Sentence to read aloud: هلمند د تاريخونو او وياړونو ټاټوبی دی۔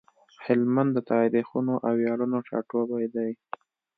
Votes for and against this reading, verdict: 2, 0, accepted